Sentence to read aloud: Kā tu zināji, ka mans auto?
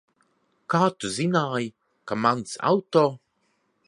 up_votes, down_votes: 2, 1